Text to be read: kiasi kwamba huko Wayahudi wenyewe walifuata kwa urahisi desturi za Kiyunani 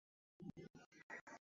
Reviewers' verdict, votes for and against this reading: rejected, 0, 2